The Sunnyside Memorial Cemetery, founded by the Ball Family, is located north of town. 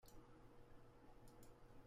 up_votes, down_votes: 0, 2